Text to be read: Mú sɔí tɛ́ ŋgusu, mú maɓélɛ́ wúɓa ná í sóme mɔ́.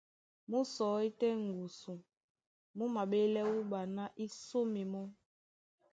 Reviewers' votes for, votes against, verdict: 2, 0, accepted